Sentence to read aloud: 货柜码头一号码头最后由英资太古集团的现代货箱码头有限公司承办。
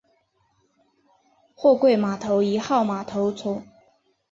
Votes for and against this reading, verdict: 0, 2, rejected